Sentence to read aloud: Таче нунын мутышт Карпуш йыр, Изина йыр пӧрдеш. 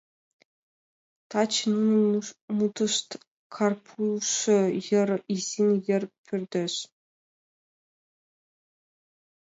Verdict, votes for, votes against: rejected, 1, 2